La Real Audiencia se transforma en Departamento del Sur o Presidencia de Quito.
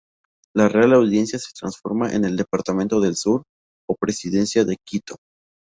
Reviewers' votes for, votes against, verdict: 0, 2, rejected